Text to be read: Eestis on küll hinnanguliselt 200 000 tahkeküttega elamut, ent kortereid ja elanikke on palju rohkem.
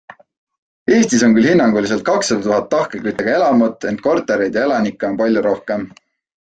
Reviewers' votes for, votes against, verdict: 0, 2, rejected